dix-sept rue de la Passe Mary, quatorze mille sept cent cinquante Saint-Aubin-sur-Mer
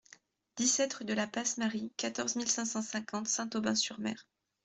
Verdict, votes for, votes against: rejected, 1, 2